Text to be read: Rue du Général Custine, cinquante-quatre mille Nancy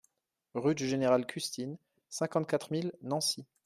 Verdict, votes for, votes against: accepted, 2, 0